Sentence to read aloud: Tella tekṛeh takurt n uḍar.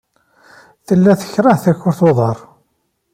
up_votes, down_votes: 2, 0